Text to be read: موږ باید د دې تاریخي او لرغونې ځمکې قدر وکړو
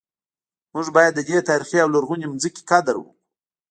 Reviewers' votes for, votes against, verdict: 2, 0, accepted